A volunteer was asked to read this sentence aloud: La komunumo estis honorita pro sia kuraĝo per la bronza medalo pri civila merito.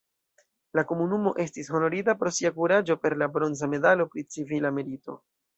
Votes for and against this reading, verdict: 2, 0, accepted